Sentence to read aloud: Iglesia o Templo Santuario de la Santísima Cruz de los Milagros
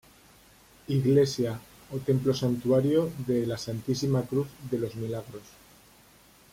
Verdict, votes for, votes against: accepted, 2, 0